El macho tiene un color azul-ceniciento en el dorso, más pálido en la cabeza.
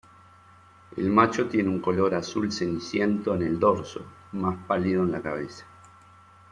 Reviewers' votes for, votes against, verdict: 2, 0, accepted